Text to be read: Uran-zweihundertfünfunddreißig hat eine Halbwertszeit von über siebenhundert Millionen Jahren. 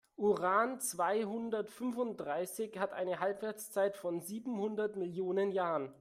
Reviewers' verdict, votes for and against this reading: rejected, 0, 2